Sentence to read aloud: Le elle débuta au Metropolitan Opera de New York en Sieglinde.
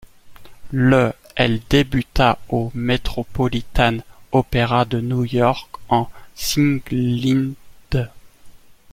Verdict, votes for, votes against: accepted, 2, 0